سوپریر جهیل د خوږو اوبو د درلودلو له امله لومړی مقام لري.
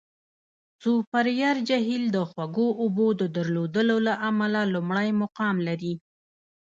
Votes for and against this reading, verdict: 1, 2, rejected